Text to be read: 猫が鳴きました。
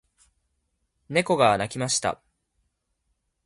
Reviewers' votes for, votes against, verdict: 2, 0, accepted